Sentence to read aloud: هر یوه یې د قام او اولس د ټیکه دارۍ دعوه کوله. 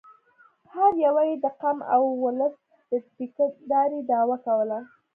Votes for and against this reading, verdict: 2, 0, accepted